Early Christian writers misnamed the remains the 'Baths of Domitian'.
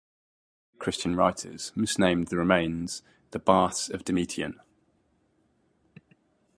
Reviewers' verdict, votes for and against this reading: rejected, 0, 2